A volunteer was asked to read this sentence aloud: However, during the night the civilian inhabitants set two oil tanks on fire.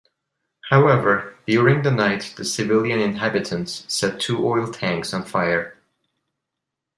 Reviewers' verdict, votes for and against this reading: accepted, 2, 0